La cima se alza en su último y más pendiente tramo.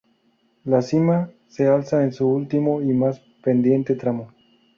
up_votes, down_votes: 0, 2